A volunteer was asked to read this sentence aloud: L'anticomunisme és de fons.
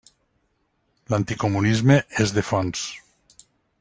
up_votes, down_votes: 2, 0